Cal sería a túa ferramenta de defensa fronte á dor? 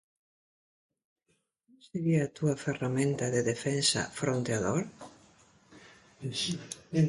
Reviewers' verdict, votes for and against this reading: rejected, 0, 2